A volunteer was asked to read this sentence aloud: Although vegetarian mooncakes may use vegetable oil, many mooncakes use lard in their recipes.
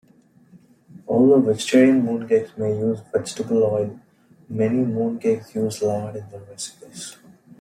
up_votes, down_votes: 2, 0